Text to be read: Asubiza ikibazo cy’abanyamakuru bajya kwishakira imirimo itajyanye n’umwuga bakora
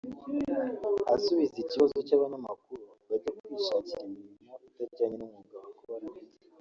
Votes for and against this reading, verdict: 1, 2, rejected